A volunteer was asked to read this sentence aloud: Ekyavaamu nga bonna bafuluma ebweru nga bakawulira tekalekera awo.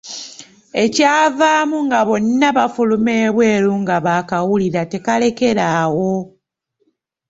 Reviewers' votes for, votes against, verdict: 0, 2, rejected